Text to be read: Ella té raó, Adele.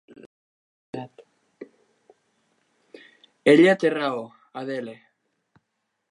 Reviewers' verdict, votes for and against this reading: rejected, 0, 2